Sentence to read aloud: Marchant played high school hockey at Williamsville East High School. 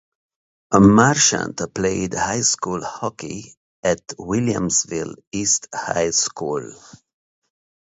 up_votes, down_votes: 0, 2